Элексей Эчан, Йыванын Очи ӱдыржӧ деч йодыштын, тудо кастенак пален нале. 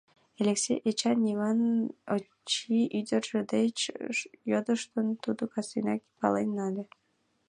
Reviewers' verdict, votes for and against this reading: rejected, 2, 3